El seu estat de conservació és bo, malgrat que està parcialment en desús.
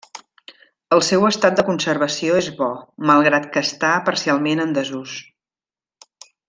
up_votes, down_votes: 3, 0